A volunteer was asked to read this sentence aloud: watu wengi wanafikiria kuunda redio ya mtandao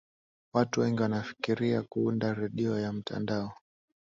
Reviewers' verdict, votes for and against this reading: accepted, 2, 0